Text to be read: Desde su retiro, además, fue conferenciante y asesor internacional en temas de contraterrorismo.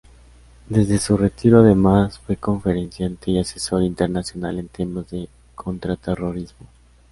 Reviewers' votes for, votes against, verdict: 2, 0, accepted